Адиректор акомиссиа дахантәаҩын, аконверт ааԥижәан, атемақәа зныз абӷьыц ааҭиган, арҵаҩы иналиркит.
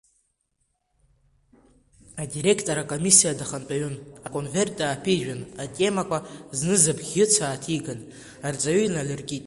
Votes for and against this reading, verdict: 2, 1, accepted